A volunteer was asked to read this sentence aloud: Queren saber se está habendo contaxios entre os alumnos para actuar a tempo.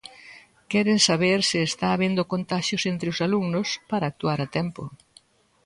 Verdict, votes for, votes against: accepted, 2, 0